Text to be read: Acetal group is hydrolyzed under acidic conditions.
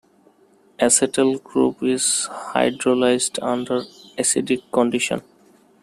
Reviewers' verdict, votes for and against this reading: accepted, 2, 1